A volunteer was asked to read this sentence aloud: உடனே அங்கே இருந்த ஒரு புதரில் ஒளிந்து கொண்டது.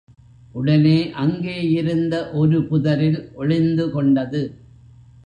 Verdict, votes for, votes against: accepted, 3, 0